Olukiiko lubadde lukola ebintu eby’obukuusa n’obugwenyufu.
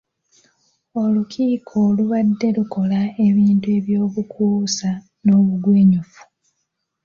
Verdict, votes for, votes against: rejected, 1, 2